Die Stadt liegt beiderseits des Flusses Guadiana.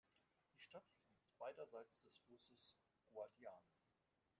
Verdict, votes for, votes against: rejected, 1, 2